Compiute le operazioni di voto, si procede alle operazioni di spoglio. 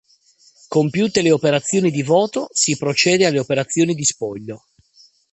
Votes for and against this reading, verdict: 2, 0, accepted